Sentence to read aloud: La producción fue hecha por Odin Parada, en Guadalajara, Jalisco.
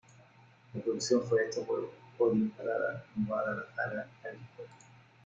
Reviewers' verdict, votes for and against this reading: rejected, 1, 2